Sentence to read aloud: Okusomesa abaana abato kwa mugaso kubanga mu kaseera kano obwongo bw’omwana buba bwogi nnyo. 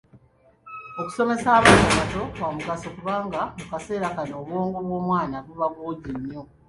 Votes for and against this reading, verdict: 2, 1, accepted